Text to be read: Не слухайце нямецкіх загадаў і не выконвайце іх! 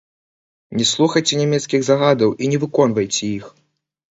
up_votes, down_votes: 0, 2